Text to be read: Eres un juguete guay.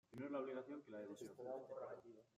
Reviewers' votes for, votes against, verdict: 0, 2, rejected